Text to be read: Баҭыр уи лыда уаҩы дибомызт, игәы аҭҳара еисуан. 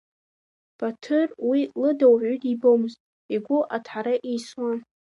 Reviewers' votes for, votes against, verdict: 3, 1, accepted